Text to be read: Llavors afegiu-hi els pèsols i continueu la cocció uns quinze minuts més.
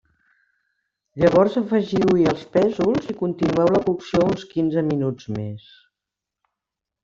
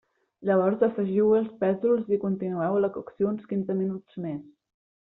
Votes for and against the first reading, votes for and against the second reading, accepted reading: 1, 2, 2, 0, second